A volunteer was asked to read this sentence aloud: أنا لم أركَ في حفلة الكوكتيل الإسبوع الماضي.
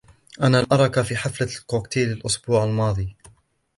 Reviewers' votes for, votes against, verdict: 1, 2, rejected